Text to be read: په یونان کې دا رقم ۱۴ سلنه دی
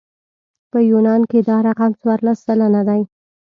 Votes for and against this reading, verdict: 0, 2, rejected